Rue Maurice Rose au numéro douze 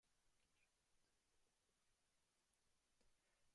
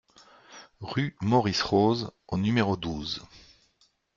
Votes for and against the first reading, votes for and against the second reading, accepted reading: 0, 2, 2, 0, second